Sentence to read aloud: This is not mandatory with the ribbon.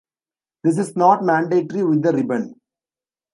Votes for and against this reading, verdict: 1, 2, rejected